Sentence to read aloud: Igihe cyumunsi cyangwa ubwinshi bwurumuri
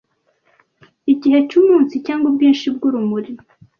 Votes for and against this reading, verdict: 2, 0, accepted